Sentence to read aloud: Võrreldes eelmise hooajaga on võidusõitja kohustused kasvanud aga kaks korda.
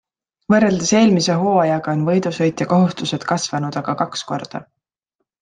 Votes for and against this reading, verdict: 2, 0, accepted